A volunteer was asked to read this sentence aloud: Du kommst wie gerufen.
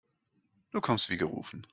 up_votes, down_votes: 2, 0